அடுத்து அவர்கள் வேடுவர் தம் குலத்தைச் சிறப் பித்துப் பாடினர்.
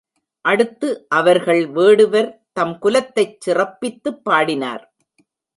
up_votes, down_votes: 0, 2